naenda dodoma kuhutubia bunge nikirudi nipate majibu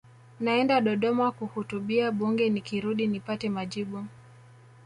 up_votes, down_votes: 0, 2